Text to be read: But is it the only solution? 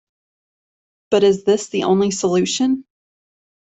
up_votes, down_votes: 0, 2